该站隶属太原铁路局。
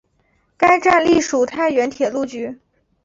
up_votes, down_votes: 2, 0